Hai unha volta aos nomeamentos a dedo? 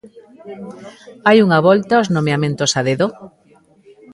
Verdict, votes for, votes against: accepted, 2, 0